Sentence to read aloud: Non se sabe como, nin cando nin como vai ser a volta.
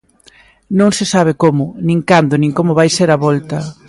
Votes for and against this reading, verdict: 2, 0, accepted